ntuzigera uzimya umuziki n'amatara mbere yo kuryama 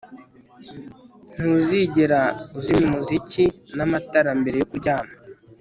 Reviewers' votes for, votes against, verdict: 2, 0, accepted